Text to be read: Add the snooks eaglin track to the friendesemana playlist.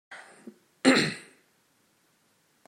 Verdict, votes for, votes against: rejected, 0, 2